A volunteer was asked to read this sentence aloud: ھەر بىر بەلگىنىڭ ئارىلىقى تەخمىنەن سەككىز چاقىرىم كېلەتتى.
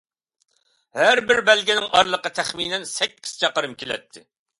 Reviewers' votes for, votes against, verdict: 2, 0, accepted